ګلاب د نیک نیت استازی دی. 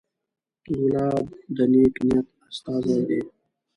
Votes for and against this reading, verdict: 2, 0, accepted